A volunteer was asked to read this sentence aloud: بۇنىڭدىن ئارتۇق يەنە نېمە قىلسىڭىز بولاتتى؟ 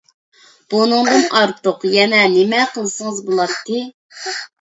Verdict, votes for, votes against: accepted, 2, 0